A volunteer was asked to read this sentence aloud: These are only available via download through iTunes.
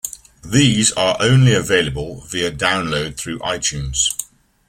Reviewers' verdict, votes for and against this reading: accepted, 2, 0